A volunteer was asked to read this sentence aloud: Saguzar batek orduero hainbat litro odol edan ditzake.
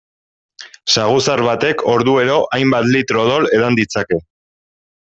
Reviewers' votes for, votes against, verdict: 3, 0, accepted